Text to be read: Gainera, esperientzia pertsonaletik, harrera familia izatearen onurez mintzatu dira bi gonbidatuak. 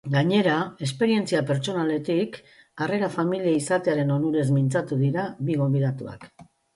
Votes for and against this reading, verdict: 2, 0, accepted